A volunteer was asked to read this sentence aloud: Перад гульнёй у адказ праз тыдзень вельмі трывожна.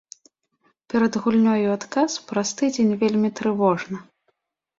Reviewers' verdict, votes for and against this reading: accepted, 4, 0